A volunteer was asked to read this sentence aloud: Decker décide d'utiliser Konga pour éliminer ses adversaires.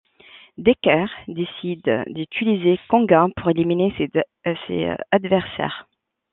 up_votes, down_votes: 1, 2